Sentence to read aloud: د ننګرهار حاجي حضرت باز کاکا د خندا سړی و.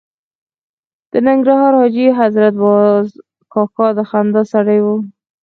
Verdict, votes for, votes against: accepted, 4, 0